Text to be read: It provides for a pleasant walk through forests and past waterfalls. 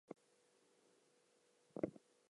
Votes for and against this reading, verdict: 0, 2, rejected